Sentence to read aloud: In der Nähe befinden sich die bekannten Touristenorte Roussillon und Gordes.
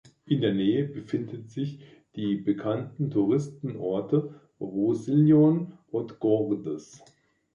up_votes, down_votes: 0, 2